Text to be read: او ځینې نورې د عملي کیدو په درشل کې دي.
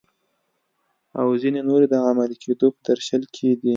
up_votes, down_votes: 2, 0